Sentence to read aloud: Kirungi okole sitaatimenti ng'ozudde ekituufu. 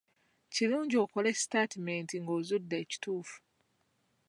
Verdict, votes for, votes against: accepted, 2, 0